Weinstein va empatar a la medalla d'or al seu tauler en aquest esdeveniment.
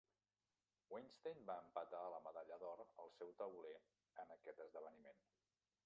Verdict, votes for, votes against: rejected, 1, 2